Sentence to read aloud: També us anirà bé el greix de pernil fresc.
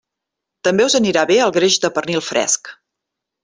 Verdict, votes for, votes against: accepted, 3, 0